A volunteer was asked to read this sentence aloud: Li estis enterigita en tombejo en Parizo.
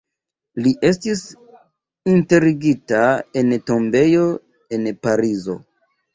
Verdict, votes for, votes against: rejected, 1, 2